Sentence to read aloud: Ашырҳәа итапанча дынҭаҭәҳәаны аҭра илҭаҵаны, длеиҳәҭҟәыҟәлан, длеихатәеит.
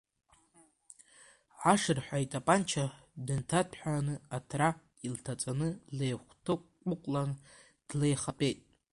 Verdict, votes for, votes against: rejected, 1, 2